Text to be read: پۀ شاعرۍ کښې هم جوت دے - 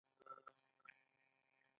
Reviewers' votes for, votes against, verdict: 0, 2, rejected